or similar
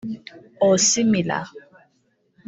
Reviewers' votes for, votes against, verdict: 0, 2, rejected